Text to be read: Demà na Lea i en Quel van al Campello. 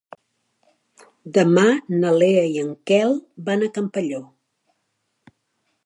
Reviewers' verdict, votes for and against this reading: rejected, 1, 2